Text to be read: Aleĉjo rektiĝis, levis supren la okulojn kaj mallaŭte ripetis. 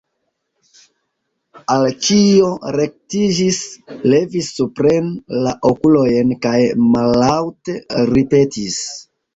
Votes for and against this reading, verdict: 1, 2, rejected